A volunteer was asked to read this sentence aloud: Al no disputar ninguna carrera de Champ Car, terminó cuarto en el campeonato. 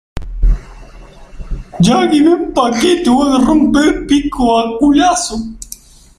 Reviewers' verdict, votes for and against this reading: rejected, 0, 2